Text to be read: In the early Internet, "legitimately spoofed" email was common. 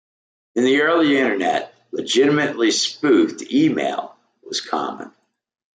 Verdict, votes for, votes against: accepted, 2, 0